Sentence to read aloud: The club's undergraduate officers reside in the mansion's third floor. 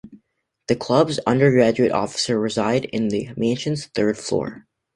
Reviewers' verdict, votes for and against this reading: rejected, 0, 2